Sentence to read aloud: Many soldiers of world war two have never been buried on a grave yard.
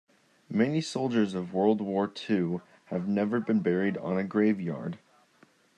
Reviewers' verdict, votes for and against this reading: accepted, 2, 0